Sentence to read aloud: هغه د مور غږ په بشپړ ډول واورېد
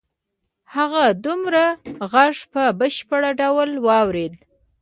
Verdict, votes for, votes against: rejected, 0, 2